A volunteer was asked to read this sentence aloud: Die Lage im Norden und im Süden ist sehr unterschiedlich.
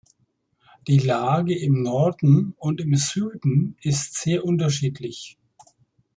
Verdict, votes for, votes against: accepted, 2, 0